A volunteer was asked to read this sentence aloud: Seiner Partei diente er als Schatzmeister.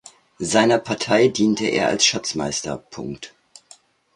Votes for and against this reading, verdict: 1, 2, rejected